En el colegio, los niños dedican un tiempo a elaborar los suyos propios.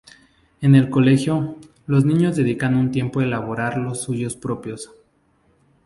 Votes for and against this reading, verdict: 2, 0, accepted